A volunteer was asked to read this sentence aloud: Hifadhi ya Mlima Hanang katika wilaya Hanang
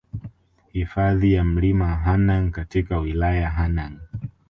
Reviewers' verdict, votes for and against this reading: accepted, 3, 1